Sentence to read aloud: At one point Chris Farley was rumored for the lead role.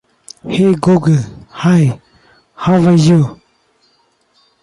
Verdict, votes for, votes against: rejected, 0, 2